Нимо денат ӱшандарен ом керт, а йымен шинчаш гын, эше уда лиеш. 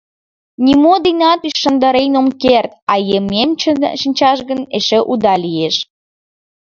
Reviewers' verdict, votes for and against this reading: rejected, 1, 2